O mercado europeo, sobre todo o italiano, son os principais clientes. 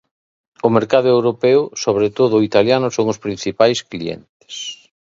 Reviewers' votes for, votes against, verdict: 2, 0, accepted